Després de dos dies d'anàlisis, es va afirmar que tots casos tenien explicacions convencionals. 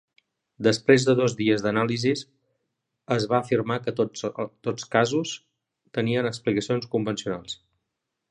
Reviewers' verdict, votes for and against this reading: rejected, 0, 2